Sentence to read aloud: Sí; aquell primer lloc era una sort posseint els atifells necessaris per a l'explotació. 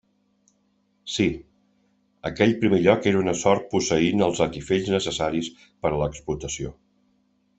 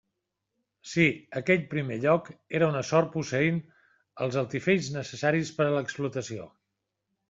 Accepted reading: first